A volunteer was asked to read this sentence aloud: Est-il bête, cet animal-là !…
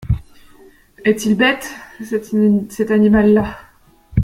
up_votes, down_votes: 1, 2